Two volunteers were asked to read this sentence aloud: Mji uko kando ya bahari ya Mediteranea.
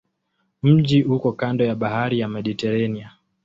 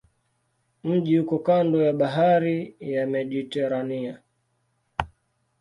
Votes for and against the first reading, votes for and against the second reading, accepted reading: 2, 0, 0, 2, first